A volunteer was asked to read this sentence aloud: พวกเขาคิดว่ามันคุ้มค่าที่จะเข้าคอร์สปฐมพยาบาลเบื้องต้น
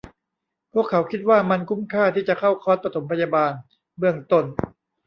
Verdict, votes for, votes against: rejected, 0, 2